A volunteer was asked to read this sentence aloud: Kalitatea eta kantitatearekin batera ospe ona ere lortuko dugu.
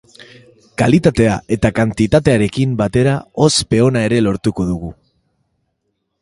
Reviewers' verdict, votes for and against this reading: accepted, 3, 0